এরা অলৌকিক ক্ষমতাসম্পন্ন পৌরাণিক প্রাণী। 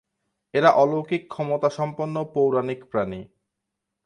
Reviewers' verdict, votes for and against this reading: accepted, 4, 0